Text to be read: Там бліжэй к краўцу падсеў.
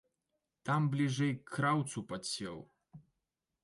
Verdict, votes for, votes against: accepted, 2, 1